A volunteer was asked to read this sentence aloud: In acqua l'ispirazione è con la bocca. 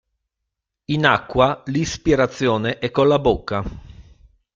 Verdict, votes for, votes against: accepted, 2, 0